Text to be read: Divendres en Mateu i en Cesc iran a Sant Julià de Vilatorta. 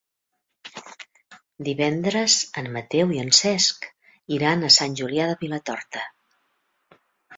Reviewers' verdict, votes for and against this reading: accepted, 3, 0